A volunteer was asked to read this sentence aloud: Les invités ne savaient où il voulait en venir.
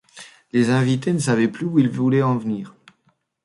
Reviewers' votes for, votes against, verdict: 0, 2, rejected